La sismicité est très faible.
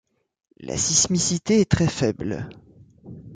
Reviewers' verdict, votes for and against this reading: accepted, 2, 0